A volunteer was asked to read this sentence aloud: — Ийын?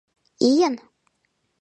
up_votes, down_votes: 2, 0